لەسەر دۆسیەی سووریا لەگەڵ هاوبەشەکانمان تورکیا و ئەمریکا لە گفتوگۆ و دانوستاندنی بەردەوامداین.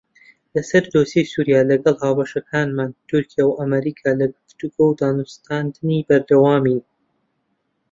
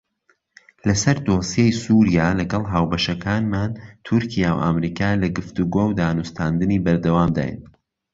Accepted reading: second